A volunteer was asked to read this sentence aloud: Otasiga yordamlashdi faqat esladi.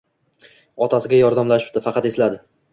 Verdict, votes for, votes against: accepted, 2, 0